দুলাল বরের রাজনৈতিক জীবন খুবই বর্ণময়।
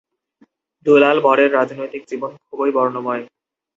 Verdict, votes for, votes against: rejected, 0, 2